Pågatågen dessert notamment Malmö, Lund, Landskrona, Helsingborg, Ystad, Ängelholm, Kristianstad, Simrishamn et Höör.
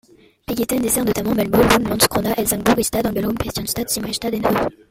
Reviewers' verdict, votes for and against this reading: rejected, 0, 2